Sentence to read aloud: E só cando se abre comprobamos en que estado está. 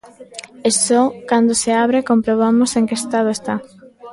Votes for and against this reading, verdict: 0, 2, rejected